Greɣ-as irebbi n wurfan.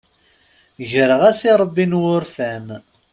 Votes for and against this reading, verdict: 0, 2, rejected